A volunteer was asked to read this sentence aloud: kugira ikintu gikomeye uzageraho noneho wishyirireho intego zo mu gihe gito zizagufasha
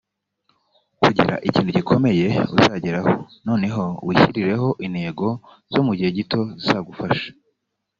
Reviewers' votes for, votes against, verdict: 1, 2, rejected